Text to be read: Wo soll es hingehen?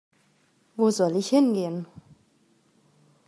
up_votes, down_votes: 0, 2